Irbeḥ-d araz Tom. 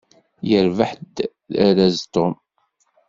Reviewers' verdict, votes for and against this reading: accepted, 2, 0